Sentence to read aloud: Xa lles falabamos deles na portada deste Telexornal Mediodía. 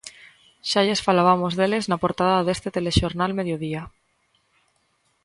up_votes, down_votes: 2, 0